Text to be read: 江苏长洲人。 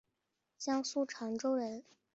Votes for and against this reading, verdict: 2, 0, accepted